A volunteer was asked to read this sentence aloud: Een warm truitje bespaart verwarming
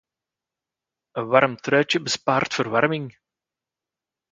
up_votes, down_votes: 2, 0